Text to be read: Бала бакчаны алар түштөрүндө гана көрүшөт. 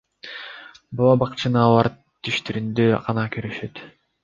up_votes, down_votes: 2, 0